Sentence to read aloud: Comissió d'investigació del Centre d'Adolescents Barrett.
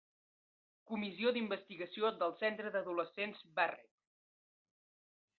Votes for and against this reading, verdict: 3, 1, accepted